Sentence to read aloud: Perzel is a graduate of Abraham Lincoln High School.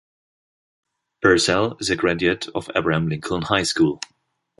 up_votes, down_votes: 2, 1